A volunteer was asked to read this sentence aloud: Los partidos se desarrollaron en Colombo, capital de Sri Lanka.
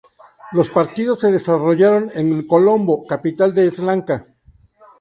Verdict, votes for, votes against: rejected, 0, 2